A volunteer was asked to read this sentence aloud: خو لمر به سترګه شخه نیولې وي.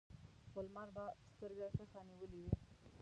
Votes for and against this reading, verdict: 1, 2, rejected